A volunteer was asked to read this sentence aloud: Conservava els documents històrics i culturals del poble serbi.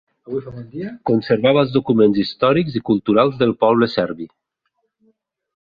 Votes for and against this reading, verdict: 1, 3, rejected